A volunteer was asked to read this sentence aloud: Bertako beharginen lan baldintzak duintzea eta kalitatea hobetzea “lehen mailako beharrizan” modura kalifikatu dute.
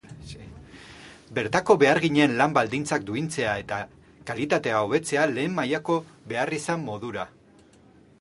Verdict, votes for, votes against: rejected, 2, 2